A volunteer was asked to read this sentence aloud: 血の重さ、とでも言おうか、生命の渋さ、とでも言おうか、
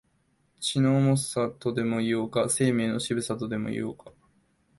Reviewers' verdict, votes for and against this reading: accepted, 2, 0